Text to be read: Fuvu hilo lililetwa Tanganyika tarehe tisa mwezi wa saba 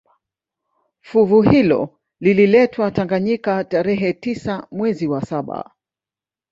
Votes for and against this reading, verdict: 2, 0, accepted